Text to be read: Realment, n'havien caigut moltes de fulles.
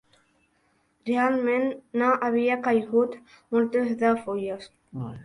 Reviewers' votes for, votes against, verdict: 0, 3, rejected